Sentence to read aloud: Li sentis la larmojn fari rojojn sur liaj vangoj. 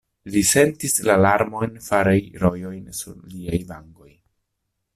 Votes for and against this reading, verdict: 1, 2, rejected